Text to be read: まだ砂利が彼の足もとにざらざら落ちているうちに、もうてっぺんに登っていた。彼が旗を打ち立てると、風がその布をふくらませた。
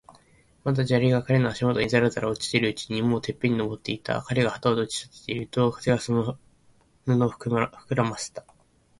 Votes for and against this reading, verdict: 2, 3, rejected